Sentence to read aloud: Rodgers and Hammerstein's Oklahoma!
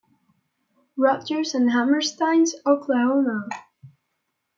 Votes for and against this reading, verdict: 2, 0, accepted